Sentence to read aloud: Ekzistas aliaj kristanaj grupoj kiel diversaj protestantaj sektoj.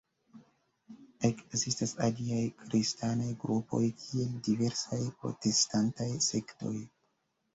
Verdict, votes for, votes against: accepted, 3, 1